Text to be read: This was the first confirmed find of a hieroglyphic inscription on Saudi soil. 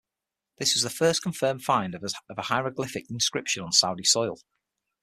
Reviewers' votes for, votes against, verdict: 0, 6, rejected